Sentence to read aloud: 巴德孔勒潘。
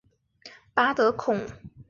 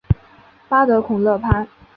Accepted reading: second